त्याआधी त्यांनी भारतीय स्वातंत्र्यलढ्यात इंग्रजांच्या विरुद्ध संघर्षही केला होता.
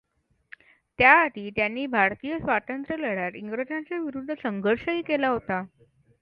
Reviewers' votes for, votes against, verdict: 2, 0, accepted